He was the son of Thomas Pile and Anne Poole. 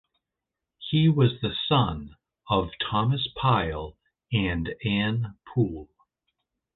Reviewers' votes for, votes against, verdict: 2, 0, accepted